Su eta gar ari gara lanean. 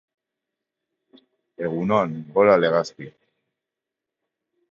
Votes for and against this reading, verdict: 1, 3, rejected